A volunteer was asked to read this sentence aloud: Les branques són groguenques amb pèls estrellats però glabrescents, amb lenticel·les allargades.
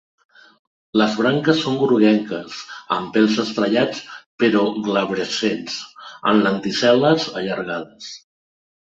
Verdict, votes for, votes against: accepted, 2, 0